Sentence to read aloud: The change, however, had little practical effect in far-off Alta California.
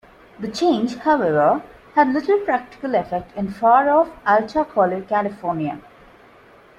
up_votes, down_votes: 1, 2